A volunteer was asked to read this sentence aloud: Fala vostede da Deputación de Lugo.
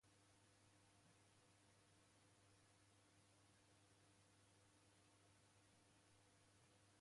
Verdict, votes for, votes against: rejected, 0, 4